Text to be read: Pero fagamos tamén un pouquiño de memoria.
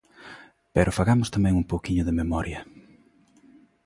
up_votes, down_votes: 2, 0